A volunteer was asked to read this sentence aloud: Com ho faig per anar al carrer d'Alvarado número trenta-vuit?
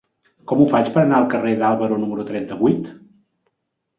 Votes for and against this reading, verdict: 0, 2, rejected